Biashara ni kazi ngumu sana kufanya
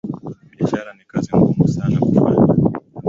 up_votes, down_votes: 2, 1